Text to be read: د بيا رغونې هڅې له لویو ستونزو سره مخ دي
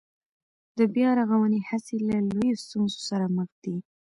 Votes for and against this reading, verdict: 2, 0, accepted